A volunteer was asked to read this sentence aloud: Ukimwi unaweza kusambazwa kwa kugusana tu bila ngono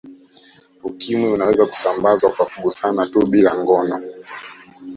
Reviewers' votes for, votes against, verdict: 2, 1, accepted